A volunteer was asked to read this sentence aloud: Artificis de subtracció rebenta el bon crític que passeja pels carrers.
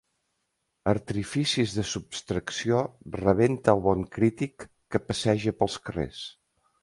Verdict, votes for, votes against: rejected, 0, 2